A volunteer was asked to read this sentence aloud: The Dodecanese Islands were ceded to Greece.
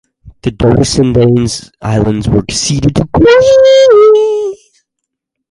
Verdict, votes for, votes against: rejected, 0, 2